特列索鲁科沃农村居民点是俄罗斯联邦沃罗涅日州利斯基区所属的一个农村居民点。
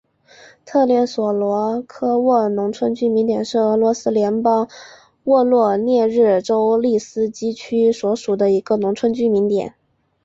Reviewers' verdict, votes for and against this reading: accepted, 4, 1